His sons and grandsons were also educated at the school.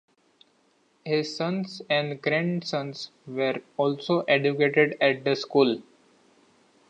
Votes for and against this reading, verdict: 2, 1, accepted